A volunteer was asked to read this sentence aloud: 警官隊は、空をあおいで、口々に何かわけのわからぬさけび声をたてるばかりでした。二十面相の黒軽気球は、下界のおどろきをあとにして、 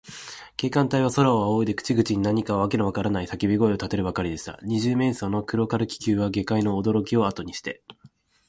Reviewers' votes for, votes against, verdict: 1, 2, rejected